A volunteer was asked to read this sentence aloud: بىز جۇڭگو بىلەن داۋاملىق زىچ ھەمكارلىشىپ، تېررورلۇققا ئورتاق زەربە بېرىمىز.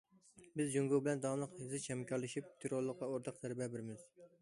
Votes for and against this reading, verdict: 2, 0, accepted